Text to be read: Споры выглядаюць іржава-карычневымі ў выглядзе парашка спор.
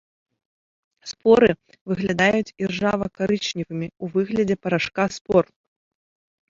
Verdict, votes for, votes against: accepted, 3, 0